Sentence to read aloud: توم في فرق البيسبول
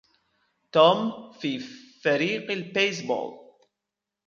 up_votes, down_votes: 0, 2